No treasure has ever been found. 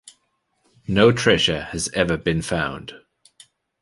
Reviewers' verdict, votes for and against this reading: accepted, 2, 0